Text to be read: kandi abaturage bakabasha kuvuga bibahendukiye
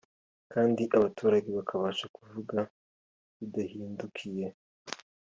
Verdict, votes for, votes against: accepted, 2, 0